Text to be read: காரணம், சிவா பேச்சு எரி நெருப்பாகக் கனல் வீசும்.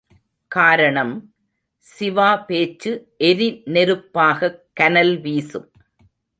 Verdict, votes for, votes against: accepted, 3, 0